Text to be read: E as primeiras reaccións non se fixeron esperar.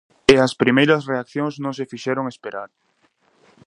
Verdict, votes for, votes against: accepted, 2, 0